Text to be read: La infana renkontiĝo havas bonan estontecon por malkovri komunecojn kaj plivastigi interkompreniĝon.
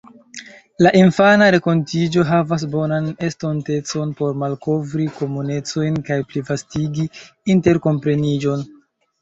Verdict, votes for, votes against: rejected, 1, 2